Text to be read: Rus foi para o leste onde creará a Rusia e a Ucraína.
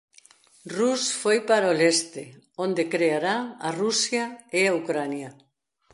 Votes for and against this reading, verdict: 0, 2, rejected